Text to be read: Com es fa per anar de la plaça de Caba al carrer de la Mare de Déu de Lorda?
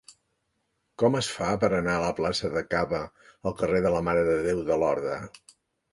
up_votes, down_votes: 0, 2